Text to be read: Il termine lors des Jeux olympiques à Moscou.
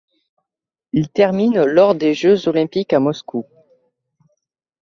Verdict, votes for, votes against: accepted, 2, 0